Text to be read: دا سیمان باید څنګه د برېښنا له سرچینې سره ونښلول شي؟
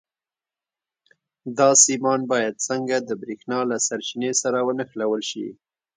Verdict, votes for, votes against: rejected, 1, 2